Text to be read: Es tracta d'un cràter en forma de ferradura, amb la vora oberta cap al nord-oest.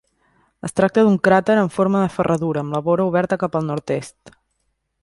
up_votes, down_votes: 1, 2